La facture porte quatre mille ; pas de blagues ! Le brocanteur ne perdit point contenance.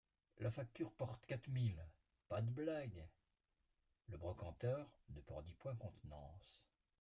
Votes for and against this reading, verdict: 1, 2, rejected